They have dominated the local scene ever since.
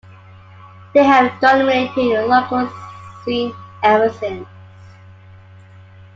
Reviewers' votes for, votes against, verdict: 2, 1, accepted